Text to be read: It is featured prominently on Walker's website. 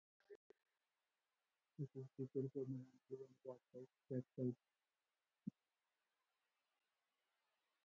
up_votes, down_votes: 0, 2